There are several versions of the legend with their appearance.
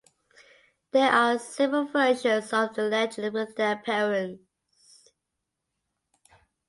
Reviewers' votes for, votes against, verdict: 2, 0, accepted